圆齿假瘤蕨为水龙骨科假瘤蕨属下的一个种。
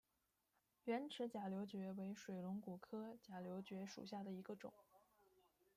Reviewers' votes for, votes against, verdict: 1, 2, rejected